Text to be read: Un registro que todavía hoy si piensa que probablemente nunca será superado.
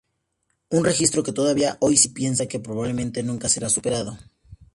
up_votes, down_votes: 2, 0